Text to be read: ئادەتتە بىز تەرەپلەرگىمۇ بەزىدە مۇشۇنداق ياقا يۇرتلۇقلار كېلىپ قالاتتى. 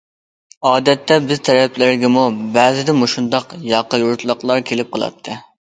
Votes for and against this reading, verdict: 2, 0, accepted